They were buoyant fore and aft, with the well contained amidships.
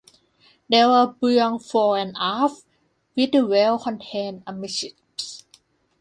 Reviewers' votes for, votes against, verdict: 2, 1, accepted